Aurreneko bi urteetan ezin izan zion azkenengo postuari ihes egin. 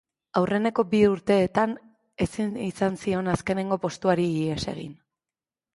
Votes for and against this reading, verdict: 2, 0, accepted